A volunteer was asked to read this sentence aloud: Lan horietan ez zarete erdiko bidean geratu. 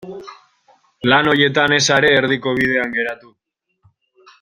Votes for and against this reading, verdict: 1, 2, rejected